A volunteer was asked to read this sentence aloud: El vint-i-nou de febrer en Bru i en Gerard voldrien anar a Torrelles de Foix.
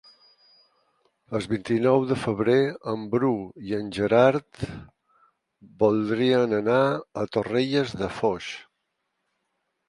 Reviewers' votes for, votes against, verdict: 4, 2, accepted